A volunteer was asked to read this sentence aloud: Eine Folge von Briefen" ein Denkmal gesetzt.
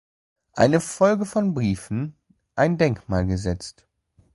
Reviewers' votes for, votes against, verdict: 2, 0, accepted